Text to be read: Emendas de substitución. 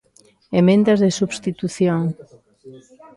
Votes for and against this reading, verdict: 1, 2, rejected